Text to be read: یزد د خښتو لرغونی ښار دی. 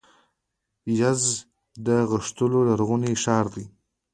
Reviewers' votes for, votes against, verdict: 1, 2, rejected